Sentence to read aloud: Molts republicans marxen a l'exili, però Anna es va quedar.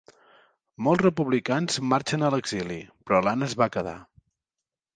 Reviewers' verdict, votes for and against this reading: rejected, 1, 2